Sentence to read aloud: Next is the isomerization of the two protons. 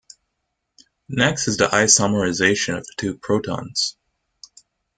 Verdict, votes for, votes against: accepted, 2, 0